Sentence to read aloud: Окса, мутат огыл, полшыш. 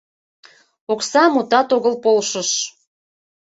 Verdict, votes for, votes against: accepted, 2, 0